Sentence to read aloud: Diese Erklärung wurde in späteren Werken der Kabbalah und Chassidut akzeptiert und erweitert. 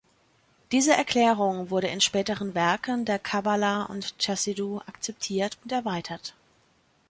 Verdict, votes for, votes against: rejected, 0, 2